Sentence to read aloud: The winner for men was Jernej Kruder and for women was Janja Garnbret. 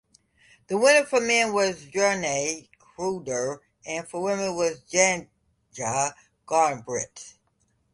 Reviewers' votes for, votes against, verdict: 2, 0, accepted